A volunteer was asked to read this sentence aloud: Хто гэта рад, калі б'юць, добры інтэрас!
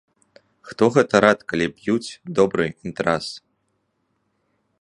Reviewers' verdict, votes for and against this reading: accepted, 3, 0